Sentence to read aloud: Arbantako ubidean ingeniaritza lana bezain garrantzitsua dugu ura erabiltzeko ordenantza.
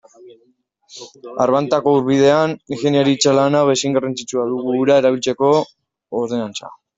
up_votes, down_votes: 1, 2